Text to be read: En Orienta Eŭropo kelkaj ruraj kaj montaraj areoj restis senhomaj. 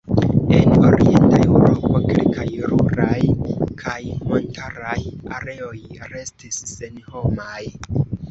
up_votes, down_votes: 1, 2